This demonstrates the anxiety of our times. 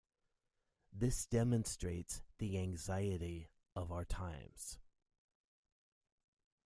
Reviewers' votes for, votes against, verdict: 2, 0, accepted